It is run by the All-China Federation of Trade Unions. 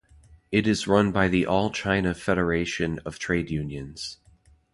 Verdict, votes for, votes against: accepted, 2, 0